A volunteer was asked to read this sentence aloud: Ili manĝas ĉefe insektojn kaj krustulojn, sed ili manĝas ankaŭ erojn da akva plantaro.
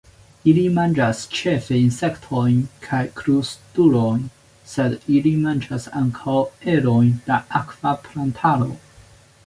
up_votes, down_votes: 2, 1